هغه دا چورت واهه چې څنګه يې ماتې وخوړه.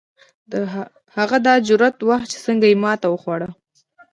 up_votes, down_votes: 1, 2